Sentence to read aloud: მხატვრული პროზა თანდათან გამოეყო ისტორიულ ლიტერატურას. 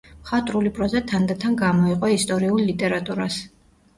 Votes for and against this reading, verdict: 2, 0, accepted